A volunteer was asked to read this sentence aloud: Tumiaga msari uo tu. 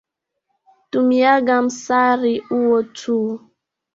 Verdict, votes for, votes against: accepted, 2, 0